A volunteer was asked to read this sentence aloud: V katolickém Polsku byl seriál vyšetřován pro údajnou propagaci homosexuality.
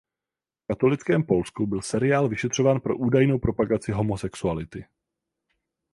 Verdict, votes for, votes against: rejected, 0, 4